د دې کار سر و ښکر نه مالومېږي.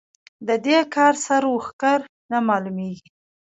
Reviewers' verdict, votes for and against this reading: accepted, 2, 0